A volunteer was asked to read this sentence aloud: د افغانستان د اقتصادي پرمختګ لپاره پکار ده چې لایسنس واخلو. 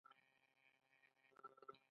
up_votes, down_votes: 2, 1